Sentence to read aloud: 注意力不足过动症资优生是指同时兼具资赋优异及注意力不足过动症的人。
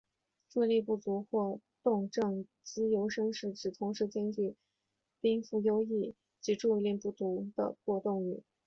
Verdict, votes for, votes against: rejected, 1, 2